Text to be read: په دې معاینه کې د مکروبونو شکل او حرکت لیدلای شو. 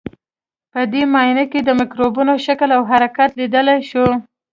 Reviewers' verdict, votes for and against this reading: accepted, 2, 0